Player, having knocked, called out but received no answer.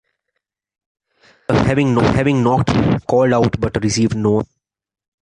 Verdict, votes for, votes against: rejected, 0, 2